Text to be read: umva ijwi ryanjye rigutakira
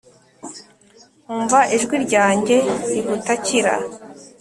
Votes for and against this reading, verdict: 2, 1, accepted